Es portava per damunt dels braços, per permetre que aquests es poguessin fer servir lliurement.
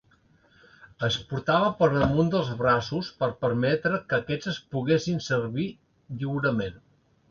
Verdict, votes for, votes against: rejected, 0, 2